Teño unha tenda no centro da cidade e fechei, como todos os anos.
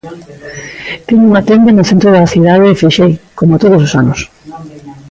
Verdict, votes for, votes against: rejected, 0, 2